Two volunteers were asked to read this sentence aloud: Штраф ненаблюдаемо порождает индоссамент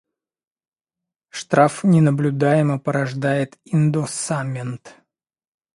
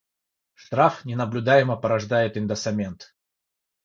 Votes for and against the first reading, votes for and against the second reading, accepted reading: 2, 0, 3, 3, first